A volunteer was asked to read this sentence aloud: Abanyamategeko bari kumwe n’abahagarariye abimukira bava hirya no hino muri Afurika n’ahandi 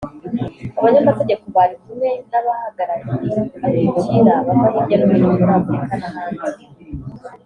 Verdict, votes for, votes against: rejected, 0, 2